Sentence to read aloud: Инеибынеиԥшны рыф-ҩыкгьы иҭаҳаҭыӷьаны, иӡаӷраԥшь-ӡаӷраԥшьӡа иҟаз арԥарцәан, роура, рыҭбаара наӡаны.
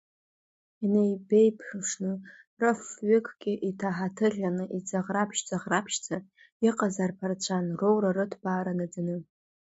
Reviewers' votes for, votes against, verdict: 1, 2, rejected